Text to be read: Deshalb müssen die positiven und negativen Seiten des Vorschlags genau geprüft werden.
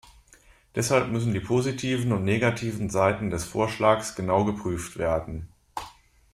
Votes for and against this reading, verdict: 2, 1, accepted